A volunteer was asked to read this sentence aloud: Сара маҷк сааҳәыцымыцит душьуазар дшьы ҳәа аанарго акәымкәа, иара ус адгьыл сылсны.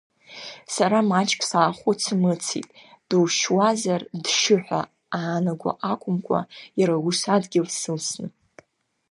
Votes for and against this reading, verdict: 2, 0, accepted